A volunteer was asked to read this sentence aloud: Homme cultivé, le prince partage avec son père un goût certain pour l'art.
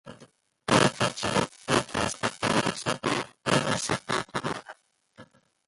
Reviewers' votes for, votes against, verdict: 0, 2, rejected